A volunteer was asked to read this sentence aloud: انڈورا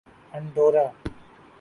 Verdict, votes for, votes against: accepted, 2, 1